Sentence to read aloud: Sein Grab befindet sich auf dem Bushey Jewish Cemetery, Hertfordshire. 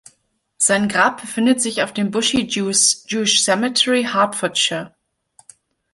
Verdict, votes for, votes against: rejected, 0, 2